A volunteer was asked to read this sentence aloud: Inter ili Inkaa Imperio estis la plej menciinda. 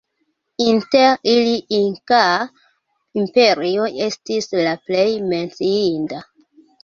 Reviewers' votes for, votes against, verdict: 1, 2, rejected